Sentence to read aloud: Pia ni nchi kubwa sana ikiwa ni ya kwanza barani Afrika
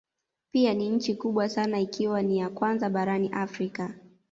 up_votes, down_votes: 2, 0